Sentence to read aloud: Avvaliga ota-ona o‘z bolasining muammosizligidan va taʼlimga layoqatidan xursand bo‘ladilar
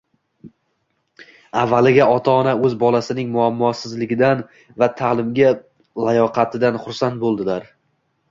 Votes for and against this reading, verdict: 1, 2, rejected